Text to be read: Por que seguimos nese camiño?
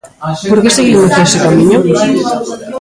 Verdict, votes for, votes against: rejected, 0, 2